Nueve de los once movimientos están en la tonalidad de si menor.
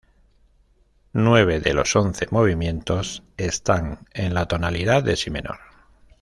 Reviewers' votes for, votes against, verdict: 2, 0, accepted